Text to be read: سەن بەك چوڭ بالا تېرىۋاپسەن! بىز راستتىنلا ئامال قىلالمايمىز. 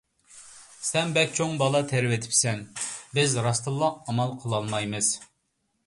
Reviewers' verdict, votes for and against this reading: rejected, 0, 2